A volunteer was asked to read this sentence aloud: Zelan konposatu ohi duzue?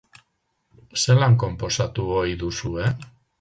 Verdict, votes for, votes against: accepted, 4, 0